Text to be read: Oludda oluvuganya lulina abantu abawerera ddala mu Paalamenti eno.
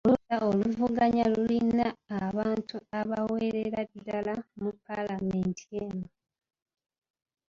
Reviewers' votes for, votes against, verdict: 0, 2, rejected